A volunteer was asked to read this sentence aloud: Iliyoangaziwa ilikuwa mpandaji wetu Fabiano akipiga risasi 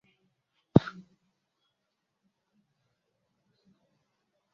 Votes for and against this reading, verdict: 0, 2, rejected